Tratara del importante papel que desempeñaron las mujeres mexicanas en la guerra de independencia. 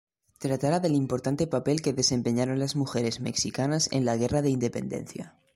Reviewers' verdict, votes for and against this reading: accepted, 3, 2